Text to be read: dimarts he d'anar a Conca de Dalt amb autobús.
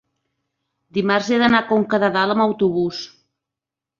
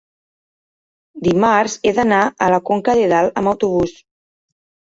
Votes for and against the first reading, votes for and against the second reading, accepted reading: 3, 0, 1, 2, first